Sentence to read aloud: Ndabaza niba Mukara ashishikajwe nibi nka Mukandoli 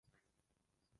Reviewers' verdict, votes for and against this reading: rejected, 0, 2